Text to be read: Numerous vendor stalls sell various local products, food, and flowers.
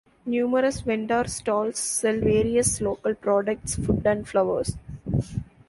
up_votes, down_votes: 2, 0